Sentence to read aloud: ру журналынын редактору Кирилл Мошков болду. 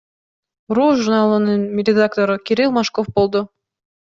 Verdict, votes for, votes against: accepted, 2, 0